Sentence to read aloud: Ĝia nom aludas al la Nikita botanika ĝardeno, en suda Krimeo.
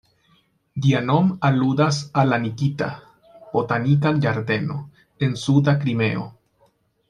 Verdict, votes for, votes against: rejected, 1, 2